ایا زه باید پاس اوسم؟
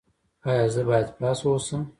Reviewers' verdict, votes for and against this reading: accepted, 2, 0